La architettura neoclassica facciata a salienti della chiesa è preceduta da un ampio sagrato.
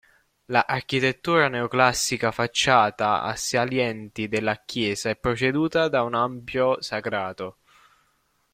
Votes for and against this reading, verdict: 2, 1, accepted